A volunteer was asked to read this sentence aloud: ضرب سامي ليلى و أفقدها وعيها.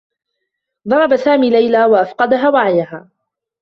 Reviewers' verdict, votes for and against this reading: rejected, 1, 2